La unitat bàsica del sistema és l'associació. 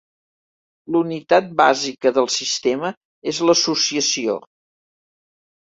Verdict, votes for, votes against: rejected, 0, 2